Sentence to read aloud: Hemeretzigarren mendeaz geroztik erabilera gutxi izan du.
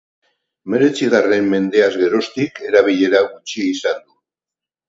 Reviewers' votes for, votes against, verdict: 0, 2, rejected